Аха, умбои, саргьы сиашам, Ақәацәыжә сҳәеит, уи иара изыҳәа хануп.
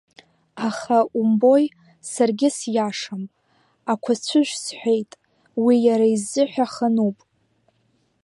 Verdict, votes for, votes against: accepted, 4, 0